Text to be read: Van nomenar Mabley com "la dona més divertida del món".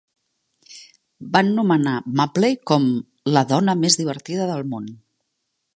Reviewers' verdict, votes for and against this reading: accepted, 2, 0